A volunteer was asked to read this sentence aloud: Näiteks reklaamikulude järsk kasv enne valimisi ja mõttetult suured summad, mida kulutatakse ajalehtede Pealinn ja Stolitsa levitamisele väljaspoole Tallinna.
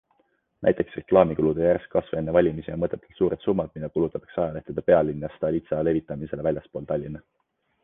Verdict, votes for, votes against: accepted, 2, 0